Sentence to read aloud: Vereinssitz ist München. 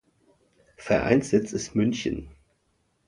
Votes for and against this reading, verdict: 3, 0, accepted